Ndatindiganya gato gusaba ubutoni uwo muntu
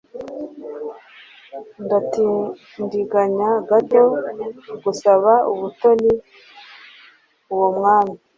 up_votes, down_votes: 0, 2